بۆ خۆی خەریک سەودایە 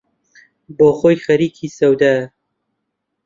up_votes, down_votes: 1, 2